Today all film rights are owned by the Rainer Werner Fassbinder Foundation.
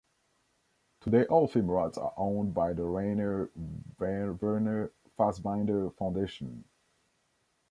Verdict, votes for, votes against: rejected, 0, 2